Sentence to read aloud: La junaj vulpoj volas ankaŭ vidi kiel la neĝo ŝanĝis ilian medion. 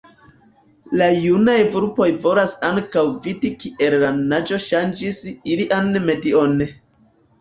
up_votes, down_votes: 1, 2